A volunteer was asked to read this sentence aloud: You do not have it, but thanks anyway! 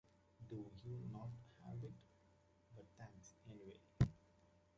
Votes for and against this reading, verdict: 0, 2, rejected